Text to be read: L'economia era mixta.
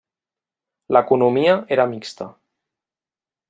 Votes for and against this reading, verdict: 3, 0, accepted